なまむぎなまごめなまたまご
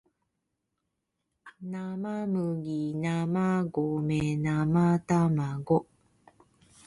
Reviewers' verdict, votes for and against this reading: rejected, 1, 2